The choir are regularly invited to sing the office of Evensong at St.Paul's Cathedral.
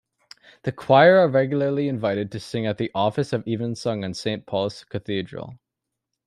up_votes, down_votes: 0, 2